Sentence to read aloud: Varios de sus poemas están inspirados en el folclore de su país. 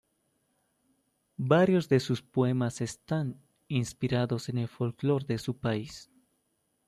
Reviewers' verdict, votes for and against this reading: rejected, 1, 2